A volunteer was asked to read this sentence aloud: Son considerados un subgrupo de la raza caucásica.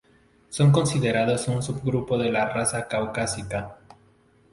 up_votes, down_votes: 2, 0